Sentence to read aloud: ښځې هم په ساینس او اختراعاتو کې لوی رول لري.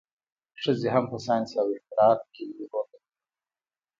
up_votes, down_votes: 2, 0